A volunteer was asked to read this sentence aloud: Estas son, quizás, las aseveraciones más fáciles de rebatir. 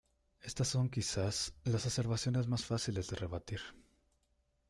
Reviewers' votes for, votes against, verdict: 1, 2, rejected